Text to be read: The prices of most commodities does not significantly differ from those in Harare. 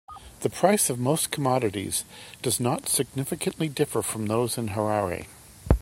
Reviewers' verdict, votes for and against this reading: accepted, 2, 0